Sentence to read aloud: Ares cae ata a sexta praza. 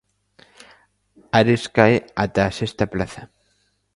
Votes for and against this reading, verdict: 1, 2, rejected